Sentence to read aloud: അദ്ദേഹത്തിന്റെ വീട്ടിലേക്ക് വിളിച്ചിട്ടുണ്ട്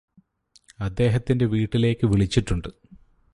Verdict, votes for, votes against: rejected, 2, 2